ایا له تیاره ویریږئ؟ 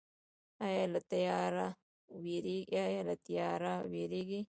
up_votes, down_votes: 1, 2